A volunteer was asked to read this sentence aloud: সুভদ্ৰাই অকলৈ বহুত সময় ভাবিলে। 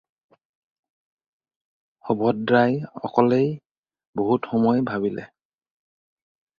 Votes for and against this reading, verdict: 0, 4, rejected